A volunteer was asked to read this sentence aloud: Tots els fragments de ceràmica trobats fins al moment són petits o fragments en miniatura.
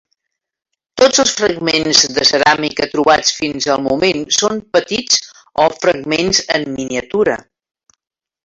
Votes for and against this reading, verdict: 2, 1, accepted